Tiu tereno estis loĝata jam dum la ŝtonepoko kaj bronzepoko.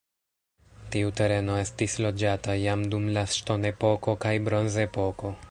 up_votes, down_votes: 3, 0